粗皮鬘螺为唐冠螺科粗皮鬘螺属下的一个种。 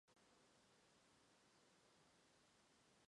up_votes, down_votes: 0, 2